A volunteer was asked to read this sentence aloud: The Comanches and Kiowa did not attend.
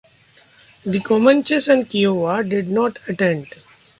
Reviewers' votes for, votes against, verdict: 2, 0, accepted